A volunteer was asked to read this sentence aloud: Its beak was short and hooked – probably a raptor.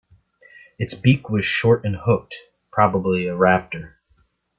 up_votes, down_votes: 2, 0